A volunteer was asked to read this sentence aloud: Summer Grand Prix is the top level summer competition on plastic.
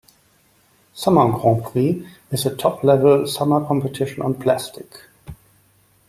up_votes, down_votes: 0, 2